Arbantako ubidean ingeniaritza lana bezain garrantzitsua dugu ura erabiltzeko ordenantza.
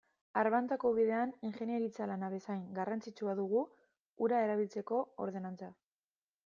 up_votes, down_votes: 2, 0